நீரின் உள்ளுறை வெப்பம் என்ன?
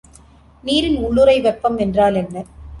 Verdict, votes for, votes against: rejected, 0, 2